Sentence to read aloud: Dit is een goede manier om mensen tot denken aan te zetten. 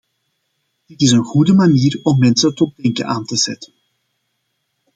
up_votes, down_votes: 0, 2